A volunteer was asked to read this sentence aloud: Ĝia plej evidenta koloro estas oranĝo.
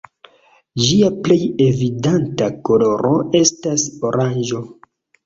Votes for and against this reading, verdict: 0, 2, rejected